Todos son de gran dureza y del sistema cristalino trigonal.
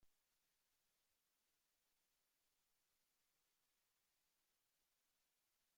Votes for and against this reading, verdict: 0, 2, rejected